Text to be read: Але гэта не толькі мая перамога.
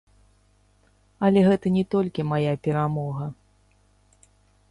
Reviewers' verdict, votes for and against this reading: rejected, 0, 2